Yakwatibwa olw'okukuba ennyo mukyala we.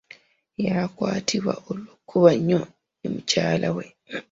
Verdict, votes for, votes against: accepted, 2, 0